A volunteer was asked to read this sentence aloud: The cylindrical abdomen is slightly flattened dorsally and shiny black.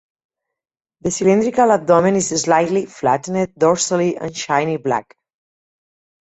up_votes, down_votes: 2, 2